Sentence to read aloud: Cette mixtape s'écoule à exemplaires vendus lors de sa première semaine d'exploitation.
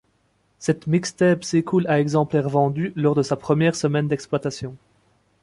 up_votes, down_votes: 2, 0